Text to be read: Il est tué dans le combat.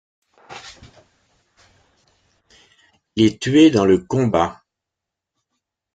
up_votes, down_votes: 2, 0